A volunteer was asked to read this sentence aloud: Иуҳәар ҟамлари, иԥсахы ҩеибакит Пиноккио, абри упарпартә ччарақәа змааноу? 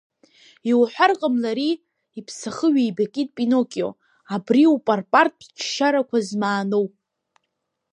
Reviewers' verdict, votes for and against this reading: rejected, 1, 2